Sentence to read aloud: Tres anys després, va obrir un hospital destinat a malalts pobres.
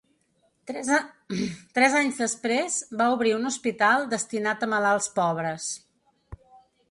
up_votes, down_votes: 1, 2